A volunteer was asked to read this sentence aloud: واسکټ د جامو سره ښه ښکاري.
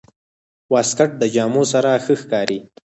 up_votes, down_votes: 4, 0